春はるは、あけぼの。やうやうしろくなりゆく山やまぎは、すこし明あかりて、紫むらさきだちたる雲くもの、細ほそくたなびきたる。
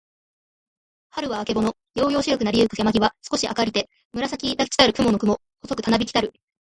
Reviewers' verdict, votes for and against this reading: accepted, 2, 1